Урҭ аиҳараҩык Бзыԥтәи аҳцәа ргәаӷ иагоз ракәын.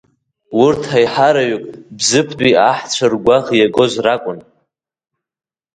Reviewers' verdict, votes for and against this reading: accepted, 2, 1